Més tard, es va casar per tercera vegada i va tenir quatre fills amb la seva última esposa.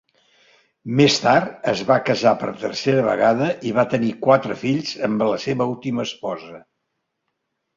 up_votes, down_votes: 3, 0